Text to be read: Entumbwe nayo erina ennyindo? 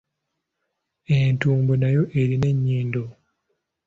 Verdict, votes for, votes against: accepted, 2, 1